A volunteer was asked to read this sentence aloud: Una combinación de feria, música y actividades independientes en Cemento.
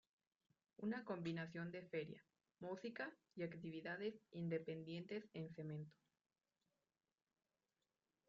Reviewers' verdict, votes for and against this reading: rejected, 1, 2